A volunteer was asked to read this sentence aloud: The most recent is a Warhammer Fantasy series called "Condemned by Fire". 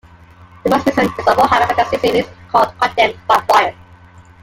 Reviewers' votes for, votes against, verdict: 2, 1, accepted